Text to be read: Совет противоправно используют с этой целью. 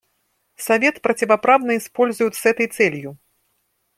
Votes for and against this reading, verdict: 2, 0, accepted